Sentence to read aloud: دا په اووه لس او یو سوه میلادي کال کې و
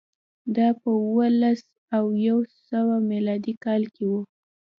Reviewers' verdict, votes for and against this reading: accepted, 2, 0